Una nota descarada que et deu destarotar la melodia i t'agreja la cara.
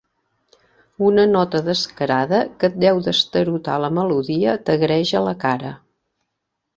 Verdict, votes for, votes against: rejected, 1, 2